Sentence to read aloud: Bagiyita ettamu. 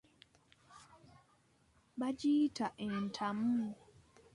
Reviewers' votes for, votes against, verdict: 2, 1, accepted